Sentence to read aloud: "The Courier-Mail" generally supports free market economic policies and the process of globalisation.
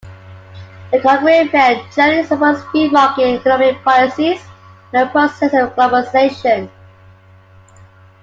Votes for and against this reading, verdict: 2, 1, accepted